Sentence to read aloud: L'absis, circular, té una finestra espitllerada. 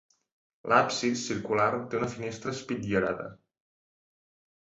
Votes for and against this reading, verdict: 2, 0, accepted